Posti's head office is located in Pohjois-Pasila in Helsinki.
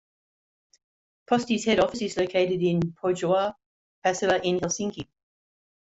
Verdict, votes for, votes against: accepted, 2, 1